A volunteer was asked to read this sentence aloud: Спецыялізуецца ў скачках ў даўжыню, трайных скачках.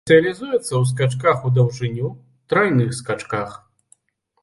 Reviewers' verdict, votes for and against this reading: rejected, 1, 2